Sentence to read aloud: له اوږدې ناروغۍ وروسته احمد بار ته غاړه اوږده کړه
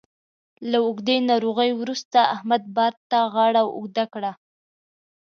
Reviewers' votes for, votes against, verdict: 3, 0, accepted